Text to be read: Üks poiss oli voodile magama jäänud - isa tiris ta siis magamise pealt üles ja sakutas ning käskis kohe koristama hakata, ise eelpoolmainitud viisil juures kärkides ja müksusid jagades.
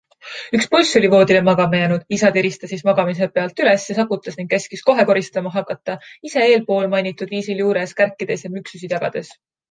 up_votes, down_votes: 2, 0